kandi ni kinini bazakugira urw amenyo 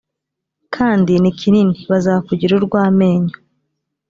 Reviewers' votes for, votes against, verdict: 3, 0, accepted